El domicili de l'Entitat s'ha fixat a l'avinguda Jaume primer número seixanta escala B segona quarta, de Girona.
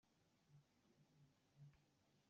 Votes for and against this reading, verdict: 0, 2, rejected